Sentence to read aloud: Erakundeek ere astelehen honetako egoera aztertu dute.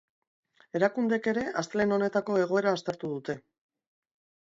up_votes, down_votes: 2, 0